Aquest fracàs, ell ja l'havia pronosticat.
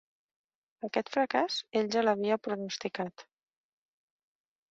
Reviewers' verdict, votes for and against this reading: rejected, 1, 3